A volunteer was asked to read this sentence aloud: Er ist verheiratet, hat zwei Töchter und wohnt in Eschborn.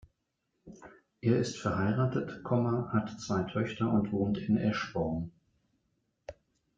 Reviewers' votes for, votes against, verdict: 0, 2, rejected